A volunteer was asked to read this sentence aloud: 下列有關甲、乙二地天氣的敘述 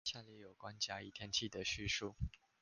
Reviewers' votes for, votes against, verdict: 2, 0, accepted